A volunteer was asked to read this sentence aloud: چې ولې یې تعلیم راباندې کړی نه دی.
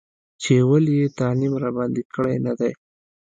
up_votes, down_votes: 2, 0